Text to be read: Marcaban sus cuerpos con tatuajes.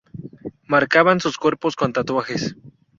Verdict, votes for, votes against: rejected, 0, 2